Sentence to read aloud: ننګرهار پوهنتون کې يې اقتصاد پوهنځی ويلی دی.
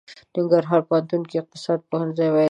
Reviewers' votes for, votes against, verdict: 2, 0, accepted